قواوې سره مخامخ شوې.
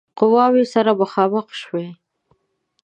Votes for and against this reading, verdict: 2, 0, accepted